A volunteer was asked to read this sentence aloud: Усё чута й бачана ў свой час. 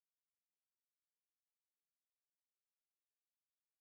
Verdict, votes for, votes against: rejected, 0, 2